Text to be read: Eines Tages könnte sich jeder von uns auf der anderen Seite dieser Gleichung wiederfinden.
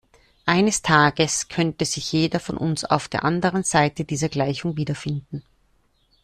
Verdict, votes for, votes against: accepted, 2, 0